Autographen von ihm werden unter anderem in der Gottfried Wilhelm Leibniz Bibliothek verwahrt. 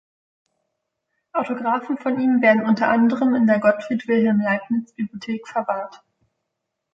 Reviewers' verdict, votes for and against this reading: accepted, 2, 0